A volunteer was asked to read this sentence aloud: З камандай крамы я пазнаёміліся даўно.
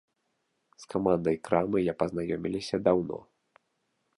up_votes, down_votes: 1, 2